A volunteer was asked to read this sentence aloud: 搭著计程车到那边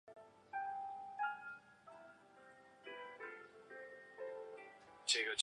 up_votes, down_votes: 0, 4